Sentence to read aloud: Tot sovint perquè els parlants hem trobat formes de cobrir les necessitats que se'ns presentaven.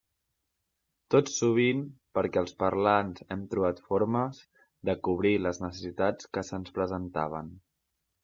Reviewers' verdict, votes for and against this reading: rejected, 0, 2